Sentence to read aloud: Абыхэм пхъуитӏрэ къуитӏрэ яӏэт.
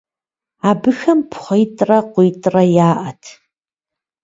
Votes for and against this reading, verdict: 2, 0, accepted